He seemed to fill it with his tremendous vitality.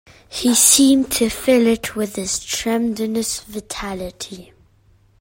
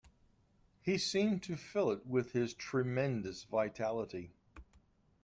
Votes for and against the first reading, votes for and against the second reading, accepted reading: 0, 3, 2, 0, second